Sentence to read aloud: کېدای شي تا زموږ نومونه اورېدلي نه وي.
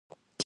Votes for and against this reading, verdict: 1, 3, rejected